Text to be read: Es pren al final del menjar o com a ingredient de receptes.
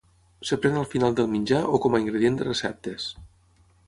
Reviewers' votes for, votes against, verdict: 3, 3, rejected